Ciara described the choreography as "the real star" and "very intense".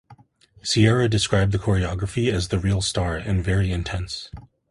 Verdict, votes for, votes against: accepted, 2, 0